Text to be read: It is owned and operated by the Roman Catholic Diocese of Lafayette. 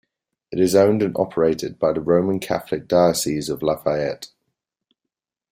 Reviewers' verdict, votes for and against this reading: accepted, 2, 0